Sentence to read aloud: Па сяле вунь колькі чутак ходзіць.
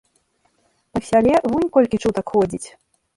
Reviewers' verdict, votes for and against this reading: rejected, 0, 2